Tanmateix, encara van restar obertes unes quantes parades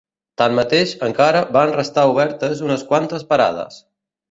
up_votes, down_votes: 2, 0